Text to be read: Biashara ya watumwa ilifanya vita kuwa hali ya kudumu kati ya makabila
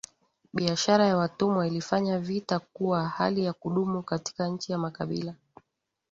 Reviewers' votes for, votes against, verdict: 0, 2, rejected